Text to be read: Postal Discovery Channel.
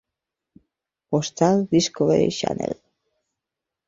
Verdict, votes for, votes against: accepted, 2, 0